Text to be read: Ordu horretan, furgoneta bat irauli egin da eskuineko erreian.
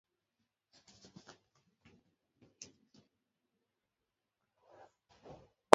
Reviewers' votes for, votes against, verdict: 0, 2, rejected